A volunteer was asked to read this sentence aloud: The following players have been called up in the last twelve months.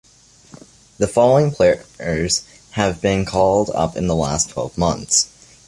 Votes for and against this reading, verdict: 2, 1, accepted